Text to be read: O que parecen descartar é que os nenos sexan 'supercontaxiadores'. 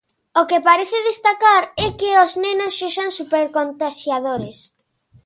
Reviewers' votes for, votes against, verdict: 1, 2, rejected